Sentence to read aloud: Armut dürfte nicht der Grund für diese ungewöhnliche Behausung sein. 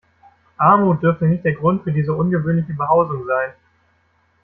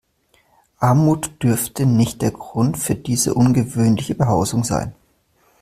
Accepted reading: second